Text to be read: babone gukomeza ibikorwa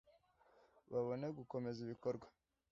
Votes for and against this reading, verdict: 2, 0, accepted